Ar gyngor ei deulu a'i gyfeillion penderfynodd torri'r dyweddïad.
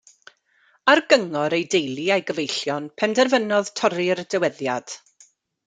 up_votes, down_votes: 0, 2